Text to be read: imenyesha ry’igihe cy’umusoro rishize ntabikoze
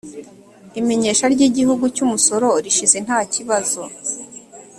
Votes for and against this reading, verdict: 1, 2, rejected